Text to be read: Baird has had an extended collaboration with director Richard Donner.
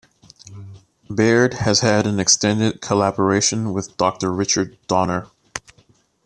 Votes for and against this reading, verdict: 1, 2, rejected